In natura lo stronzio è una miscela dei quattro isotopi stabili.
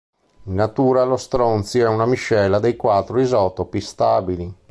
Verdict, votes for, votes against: accepted, 3, 0